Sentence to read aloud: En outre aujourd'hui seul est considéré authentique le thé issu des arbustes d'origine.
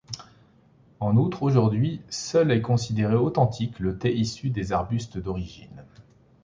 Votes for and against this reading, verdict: 2, 0, accepted